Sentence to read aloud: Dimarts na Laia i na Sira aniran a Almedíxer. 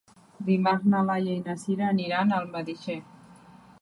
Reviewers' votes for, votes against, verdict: 1, 2, rejected